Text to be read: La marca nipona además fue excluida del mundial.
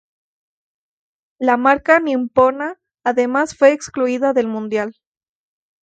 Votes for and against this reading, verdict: 0, 2, rejected